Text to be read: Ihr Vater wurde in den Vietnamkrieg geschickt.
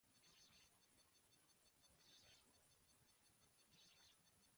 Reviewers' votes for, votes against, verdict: 0, 2, rejected